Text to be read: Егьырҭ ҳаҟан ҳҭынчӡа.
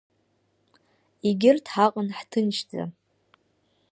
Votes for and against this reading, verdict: 2, 0, accepted